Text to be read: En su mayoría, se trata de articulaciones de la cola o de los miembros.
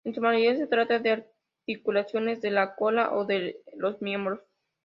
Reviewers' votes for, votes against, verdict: 2, 0, accepted